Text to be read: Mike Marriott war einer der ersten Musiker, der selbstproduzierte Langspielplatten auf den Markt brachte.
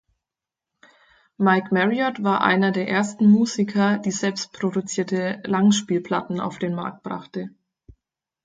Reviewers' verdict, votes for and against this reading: rejected, 0, 4